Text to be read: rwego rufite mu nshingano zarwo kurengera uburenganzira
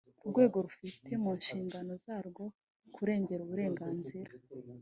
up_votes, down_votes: 1, 2